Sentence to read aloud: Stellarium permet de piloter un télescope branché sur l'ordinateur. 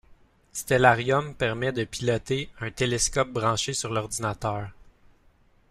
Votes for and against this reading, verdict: 2, 0, accepted